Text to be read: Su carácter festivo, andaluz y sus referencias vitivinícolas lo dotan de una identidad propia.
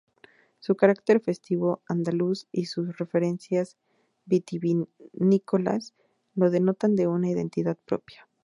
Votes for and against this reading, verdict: 0, 4, rejected